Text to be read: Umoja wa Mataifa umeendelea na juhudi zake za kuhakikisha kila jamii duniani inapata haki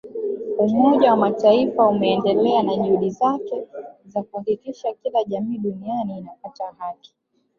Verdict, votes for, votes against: rejected, 1, 2